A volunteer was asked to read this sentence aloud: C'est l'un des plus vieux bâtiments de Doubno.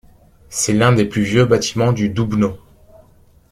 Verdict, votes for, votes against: rejected, 1, 2